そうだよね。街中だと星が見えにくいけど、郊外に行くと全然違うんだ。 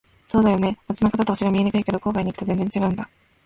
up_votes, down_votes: 0, 2